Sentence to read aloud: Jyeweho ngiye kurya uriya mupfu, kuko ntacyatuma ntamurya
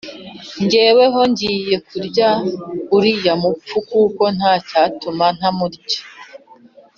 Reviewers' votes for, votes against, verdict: 2, 0, accepted